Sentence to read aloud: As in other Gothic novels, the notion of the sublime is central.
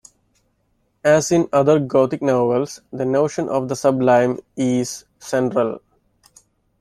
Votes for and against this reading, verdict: 2, 0, accepted